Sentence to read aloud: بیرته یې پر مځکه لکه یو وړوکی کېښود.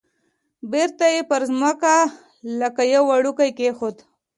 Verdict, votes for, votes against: accepted, 2, 0